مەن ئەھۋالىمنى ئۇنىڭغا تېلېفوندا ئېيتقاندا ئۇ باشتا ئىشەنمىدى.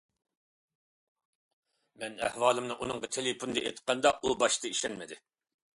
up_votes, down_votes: 2, 0